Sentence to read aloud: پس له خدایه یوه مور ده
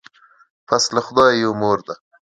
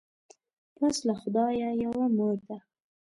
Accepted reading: second